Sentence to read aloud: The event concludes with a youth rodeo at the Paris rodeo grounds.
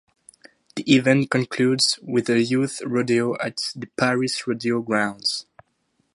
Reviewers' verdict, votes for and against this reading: accepted, 2, 0